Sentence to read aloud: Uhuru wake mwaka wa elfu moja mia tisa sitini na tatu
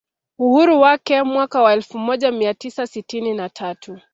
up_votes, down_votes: 2, 0